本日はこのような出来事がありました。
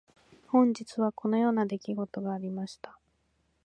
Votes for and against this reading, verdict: 2, 0, accepted